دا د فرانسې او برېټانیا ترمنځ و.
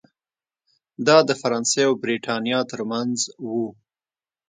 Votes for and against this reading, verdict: 2, 0, accepted